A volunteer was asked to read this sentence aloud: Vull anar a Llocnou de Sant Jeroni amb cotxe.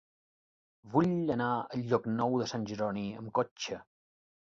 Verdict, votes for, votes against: rejected, 1, 2